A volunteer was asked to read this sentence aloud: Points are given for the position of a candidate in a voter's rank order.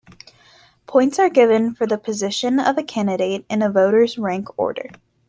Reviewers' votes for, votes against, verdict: 2, 0, accepted